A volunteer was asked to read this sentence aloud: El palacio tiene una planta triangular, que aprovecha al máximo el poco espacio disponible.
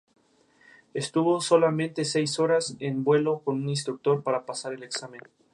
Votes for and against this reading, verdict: 0, 2, rejected